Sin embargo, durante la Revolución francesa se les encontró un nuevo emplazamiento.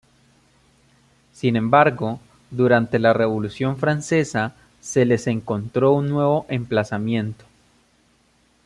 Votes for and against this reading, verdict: 2, 0, accepted